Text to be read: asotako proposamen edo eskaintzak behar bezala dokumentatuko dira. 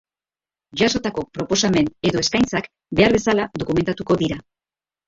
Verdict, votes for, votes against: accepted, 2, 0